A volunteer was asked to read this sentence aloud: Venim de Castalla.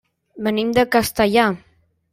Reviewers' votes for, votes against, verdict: 1, 2, rejected